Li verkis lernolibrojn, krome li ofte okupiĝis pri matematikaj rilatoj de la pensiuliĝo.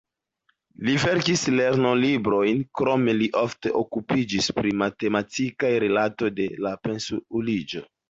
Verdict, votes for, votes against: accepted, 2, 1